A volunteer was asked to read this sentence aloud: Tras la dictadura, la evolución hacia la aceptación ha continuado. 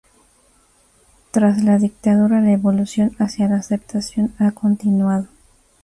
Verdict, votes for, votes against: accepted, 2, 0